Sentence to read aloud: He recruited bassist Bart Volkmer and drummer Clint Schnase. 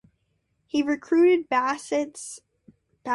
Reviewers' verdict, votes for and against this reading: rejected, 0, 2